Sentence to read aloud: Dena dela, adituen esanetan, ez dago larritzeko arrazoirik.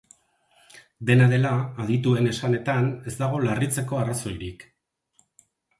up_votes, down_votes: 6, 0